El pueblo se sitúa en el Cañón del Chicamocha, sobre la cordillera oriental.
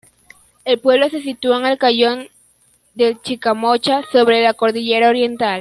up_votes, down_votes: 1, 2